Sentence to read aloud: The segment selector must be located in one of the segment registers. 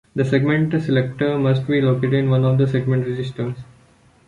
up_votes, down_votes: 2, 1